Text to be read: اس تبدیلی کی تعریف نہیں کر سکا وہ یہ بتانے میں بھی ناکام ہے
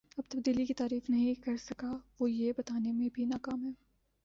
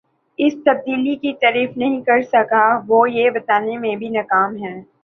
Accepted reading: second